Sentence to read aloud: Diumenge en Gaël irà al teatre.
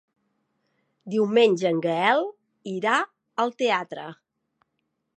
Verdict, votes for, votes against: accepted, 2, 1